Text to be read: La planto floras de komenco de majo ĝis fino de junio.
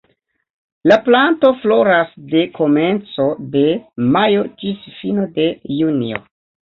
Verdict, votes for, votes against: rejected, 1, 2